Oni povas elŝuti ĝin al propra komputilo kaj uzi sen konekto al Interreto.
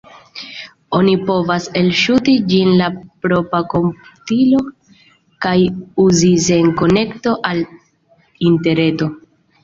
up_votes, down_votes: 0, 2